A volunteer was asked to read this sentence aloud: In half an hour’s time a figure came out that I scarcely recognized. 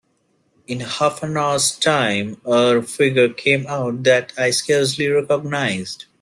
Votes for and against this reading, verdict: 1, 2, rejected